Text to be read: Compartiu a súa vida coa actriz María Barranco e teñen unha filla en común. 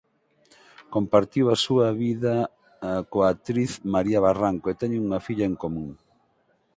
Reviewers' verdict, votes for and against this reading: rejected, 2, 4